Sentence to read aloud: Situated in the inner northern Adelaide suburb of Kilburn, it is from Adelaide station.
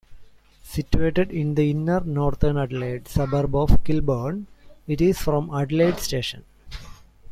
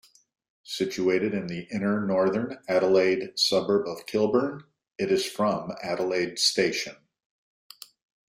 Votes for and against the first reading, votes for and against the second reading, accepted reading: 2, 3, 2, 0, second